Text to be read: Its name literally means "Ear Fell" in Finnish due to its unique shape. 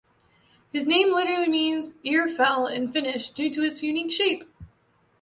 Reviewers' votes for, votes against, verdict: 2, 0, accepted